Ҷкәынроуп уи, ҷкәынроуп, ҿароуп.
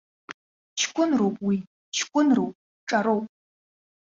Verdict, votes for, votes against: accepted, 2, 0